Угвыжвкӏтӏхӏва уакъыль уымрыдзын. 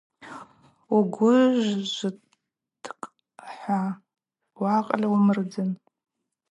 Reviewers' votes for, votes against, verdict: 2, 2, rejected